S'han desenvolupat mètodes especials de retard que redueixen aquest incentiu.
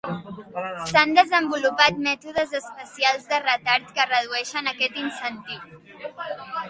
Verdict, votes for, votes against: accepted, 3, 2